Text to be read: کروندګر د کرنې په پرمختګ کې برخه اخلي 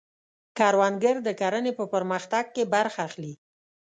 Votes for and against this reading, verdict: 2, 0, accepted